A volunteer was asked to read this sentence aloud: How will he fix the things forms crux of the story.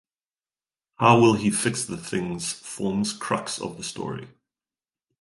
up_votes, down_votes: 2, 2